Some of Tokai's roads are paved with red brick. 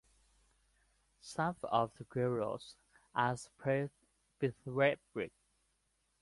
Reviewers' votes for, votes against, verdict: 0, 2, rejected